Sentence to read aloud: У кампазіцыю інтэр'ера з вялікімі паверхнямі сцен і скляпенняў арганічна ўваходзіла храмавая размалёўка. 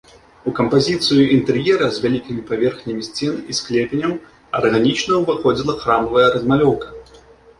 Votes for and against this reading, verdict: 0, 2, rejected